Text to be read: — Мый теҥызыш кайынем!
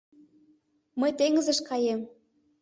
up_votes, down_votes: 0, 2